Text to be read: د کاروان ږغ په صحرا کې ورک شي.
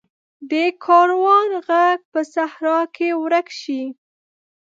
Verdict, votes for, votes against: rejected, 1, 2